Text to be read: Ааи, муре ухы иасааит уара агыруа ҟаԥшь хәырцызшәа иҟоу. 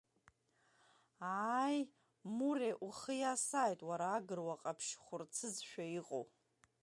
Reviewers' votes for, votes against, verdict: 1, 2, rejected